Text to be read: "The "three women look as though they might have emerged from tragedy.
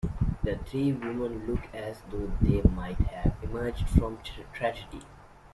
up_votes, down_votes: 0, 2